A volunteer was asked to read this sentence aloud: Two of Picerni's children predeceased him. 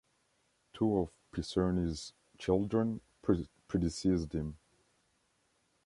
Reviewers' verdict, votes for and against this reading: rejected, 0, 2